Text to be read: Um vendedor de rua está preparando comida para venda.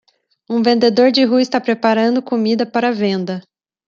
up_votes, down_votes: 2, 0